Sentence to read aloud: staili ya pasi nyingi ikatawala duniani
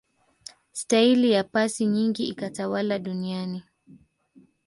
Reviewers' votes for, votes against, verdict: 2, 0, accepted